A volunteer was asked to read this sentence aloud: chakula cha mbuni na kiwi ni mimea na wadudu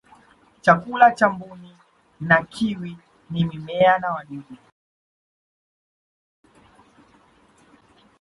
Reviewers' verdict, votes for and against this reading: rejected, 1, 2